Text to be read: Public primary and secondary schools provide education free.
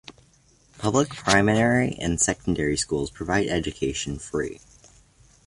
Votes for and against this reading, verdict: 2, 0, accepted